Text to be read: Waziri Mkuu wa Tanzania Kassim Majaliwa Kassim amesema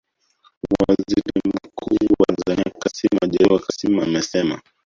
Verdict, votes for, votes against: rejected, 0, 2